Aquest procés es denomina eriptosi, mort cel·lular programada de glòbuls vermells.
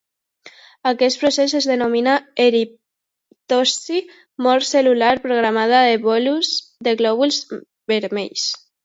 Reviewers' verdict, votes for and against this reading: rejected, 0, 2